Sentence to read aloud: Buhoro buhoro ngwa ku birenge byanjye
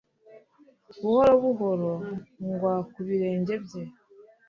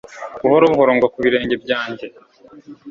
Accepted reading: second